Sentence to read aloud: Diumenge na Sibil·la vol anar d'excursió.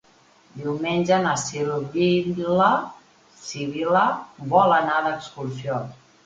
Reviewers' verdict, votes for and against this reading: rejected, 1, 2